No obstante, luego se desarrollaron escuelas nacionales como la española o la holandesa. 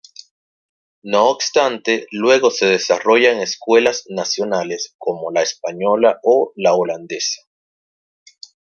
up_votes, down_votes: 0, 2